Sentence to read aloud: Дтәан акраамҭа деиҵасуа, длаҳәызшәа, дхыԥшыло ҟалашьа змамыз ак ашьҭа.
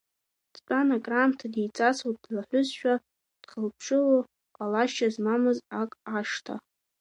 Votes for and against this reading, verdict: 0, 2, rejected